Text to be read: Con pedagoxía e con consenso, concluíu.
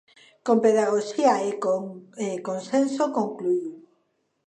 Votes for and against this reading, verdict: 0, 2, rejected